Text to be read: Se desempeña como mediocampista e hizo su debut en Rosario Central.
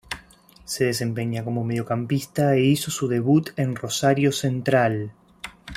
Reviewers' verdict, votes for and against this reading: accepted, 2, 0